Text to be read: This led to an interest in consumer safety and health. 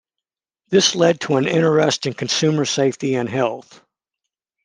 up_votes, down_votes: 2, 0